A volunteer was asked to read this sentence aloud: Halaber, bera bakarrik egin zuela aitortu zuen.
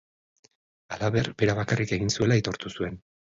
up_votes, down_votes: 3, 0